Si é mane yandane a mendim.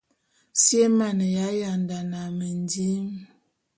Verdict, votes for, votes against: accepted, 2, 0